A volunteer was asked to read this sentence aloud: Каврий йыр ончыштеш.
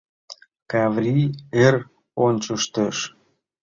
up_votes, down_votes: 1, 2